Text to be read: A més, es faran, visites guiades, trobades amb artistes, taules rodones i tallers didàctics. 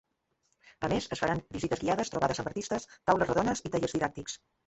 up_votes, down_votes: 0, 2